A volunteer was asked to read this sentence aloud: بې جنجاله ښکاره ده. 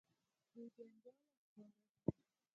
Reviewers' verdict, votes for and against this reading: rejected, 2, 6